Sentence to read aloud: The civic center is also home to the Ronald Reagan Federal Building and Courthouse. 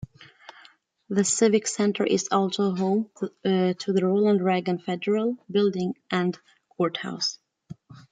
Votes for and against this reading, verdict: 0, 2, rejected